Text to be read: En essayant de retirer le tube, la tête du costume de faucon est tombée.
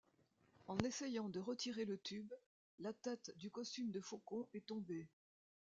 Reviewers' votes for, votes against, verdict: 0, 2, rejected